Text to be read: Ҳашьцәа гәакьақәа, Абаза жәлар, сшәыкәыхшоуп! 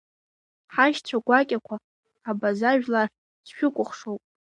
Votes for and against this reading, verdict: 0, 2, rejected